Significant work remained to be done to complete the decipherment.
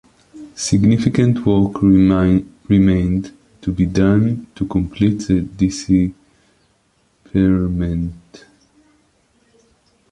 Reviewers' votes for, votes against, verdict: 0, 2, rejected